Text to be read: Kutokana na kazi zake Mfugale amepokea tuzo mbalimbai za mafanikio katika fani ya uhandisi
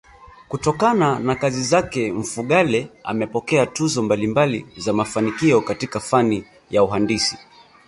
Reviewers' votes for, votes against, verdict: 2, 3, rejected